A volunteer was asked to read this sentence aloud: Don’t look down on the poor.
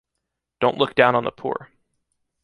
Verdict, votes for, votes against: accepted, 2, 0